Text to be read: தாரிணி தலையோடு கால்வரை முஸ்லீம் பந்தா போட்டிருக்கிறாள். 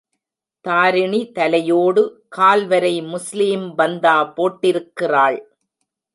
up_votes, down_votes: 2, 0